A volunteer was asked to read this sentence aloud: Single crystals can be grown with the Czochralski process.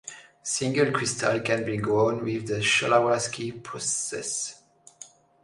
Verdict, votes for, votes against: rejected, 1, 2